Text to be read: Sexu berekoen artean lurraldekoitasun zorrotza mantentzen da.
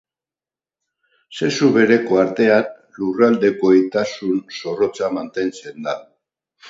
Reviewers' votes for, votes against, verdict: 0, 4, rejected